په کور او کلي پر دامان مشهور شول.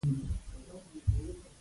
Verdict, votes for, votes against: rejected, 0, 3